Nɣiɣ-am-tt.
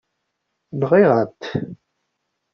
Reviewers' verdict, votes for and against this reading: accepted, 2, 0